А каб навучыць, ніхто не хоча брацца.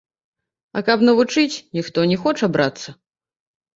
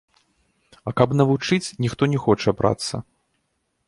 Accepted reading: second